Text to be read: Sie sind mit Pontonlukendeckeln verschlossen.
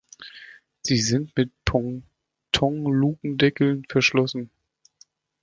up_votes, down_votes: 0, 2